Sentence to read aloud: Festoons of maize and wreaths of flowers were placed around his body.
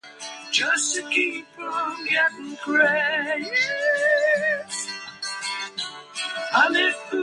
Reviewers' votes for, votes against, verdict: 0, 2, rejected